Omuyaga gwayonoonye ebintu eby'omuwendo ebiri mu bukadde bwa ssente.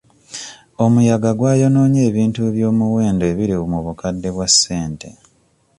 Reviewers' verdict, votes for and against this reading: accepted, 2, 0